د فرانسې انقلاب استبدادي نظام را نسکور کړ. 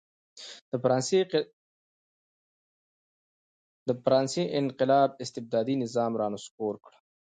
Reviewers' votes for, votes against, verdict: 1, 2, rejected